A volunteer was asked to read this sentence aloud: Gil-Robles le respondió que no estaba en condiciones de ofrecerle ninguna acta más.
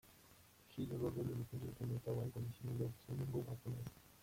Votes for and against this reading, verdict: 0, 2, rejected